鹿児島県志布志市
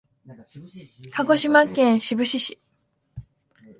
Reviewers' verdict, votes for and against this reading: accepted, 2, 0